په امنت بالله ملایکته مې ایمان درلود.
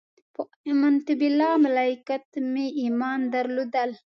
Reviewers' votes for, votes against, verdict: 1, 2, rejected